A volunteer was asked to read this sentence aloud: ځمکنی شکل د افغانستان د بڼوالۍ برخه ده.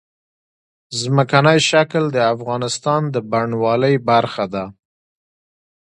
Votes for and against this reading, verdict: 2, 0, accepted